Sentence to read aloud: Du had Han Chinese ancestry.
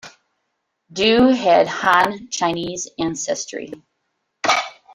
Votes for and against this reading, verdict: 2, 1, accepted